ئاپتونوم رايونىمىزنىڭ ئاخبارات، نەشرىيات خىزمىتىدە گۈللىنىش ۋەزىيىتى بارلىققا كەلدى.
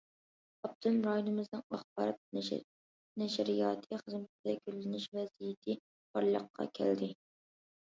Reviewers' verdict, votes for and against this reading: rejected, 0, 2